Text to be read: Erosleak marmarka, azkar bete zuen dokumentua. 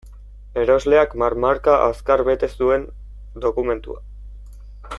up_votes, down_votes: 2, 0